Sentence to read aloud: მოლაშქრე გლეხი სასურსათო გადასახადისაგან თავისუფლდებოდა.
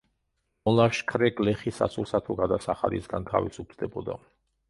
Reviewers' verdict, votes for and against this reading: rejected, 1, 2